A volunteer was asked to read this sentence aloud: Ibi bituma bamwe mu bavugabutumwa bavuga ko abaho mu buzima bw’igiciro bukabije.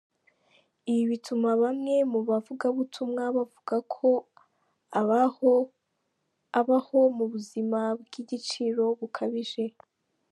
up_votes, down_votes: 0, 2